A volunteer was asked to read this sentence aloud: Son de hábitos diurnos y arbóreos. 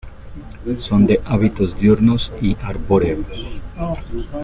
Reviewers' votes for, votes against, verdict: 2, 1, accepted